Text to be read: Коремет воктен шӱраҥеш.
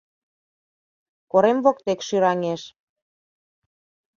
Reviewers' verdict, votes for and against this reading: rejected, 0, 2